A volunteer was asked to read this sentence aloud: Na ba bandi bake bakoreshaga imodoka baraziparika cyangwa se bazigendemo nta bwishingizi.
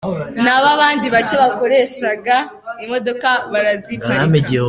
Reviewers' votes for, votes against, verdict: 0, 3, rejected